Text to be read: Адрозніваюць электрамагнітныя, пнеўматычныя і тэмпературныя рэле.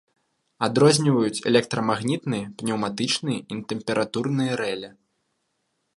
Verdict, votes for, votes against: rejected, 1, 2